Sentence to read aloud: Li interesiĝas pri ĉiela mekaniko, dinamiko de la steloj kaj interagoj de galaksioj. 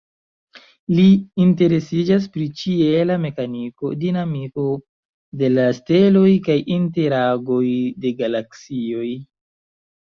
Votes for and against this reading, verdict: 1, 2, rejected